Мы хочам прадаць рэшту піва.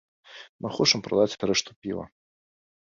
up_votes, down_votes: 1, 2